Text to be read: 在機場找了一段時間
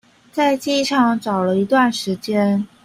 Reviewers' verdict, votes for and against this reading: accepted, 2, 0